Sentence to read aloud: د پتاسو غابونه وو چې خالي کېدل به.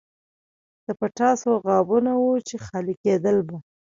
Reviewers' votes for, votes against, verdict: 0, 2, rejected